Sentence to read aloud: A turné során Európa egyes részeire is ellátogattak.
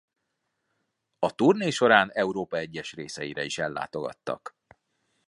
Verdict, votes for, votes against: accepted, 2, 0